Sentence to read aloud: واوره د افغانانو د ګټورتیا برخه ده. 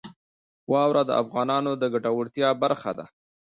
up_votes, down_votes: 0, 2